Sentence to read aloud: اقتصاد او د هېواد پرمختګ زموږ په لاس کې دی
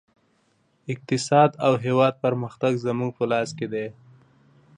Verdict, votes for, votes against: accepted, 2, 0